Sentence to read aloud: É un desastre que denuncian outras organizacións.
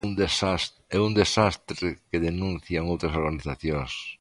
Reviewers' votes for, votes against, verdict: 1, 3, rejected